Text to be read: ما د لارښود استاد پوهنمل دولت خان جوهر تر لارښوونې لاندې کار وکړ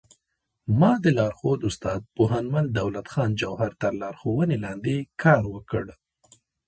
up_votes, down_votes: 2, 1